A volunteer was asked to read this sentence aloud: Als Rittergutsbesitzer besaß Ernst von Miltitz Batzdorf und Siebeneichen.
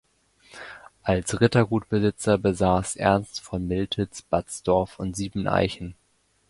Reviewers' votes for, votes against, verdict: 2, 1, accepted